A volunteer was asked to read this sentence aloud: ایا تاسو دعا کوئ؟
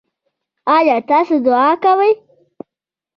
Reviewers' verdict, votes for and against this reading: rejected, 0, 2